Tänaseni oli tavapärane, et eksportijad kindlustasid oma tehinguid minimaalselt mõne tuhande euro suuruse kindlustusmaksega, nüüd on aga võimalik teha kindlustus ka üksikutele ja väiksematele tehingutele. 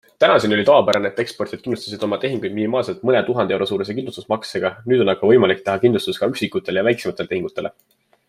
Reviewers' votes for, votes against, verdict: 2, 0, accepted